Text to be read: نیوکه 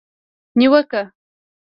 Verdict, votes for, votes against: accepted, 2, 1